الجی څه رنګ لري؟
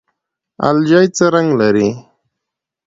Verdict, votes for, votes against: accepted, 2, 0